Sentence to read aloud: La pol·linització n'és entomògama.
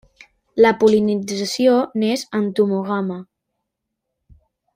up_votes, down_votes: 2, 1